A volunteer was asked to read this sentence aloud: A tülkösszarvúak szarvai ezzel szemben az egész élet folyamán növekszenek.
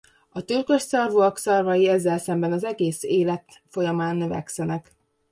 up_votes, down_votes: 2, 0